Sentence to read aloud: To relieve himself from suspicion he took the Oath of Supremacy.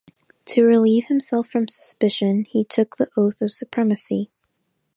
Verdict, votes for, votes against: accepted, 2, 0